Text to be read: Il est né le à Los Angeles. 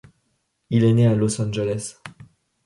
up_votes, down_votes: 1, 2